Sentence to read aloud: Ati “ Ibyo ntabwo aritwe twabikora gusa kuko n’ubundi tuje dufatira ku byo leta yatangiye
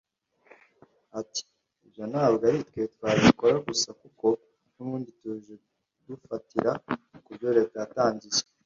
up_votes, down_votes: 1, 2